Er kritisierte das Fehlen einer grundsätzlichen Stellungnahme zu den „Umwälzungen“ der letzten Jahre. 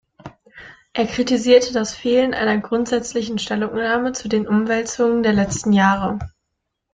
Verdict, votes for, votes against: accepted, 2, 0